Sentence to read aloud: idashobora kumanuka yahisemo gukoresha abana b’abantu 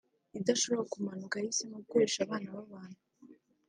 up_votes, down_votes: 2, 0